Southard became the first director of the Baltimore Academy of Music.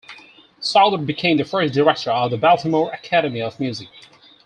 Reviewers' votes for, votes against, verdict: 4, 2, accepted